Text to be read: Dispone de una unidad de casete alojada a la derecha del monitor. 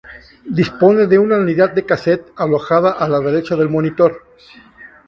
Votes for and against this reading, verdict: 2, 0, accepted